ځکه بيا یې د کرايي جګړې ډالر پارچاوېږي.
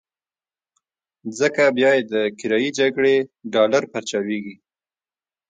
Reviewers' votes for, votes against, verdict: 2, 0, accepted